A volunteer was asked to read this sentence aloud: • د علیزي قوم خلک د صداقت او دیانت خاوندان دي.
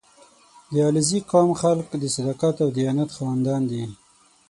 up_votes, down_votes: 6, 0